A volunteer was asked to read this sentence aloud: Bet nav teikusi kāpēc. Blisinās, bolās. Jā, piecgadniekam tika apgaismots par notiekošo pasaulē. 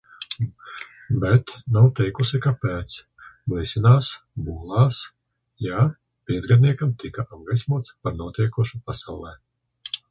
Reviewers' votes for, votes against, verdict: 2, 1, accepted